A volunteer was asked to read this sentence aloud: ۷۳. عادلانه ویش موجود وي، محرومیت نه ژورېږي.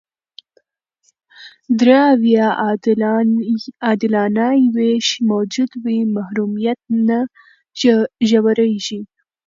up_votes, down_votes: 0, 2